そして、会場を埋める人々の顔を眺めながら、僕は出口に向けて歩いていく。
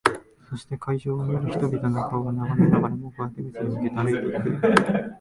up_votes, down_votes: 0, 2